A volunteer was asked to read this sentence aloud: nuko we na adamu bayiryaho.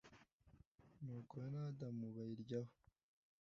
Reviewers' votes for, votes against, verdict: 2, 0, accepted